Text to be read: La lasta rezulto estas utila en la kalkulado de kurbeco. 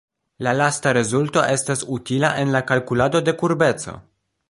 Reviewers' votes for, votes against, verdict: 2, 1, accepted